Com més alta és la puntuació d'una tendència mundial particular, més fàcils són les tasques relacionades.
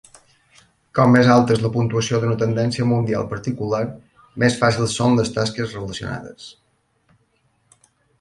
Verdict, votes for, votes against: accepted, 2, 0